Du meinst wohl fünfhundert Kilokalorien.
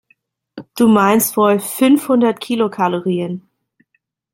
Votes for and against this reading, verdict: 2, 0, accepted